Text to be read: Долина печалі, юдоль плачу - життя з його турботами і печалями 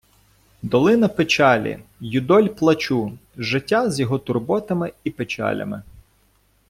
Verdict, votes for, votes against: accepted, 2, 0